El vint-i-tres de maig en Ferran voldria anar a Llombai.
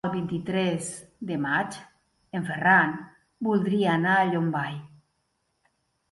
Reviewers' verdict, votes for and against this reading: accepted, 2, 0